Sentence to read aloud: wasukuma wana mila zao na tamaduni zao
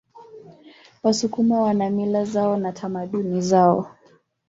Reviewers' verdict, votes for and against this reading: accepted, 2, 1